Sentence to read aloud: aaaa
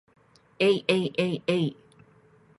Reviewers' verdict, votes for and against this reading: rejected, 1, 2